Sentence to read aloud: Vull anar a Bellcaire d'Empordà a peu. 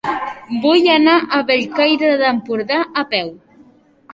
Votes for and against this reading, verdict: 1, 2, rejected